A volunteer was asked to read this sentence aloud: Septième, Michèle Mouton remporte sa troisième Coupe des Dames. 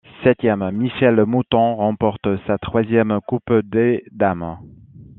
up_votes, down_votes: 1, 2